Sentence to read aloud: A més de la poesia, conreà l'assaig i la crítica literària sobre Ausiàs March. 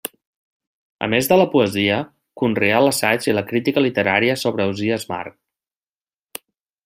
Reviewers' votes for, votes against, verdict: 2, 0, accepted